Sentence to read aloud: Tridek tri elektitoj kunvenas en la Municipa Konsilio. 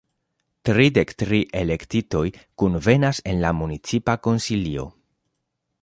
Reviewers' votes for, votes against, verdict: 2, 0, accepted